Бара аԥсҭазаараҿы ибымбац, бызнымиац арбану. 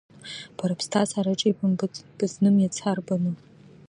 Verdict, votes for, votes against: rejected, 1, 2